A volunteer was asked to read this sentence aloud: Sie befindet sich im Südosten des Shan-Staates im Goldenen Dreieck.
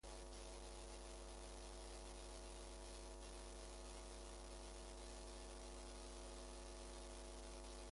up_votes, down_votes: 0, 2